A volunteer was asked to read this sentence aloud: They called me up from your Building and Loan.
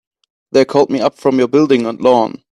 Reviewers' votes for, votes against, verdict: 2, 0, accepted